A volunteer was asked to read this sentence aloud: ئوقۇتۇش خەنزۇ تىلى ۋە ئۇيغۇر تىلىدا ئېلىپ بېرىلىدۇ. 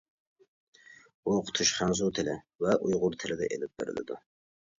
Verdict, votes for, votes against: rejected, 0, 2